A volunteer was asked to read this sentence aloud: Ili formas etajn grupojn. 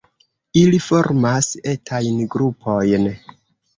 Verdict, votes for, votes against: rejected, 1, 2